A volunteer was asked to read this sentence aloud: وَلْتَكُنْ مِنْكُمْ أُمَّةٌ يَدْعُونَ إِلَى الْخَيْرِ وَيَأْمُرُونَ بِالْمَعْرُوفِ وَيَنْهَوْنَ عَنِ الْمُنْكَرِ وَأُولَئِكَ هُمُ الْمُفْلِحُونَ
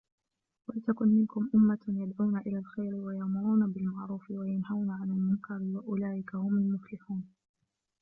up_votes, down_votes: 0, 2